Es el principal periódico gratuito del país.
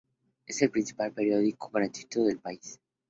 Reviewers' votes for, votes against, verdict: 4, 0, accepted